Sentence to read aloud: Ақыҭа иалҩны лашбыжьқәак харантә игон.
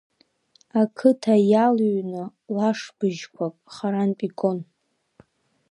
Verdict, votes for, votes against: rejected, 1, 2